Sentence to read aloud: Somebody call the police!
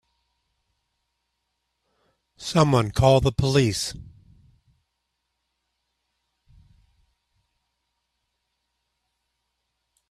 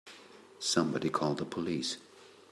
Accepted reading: second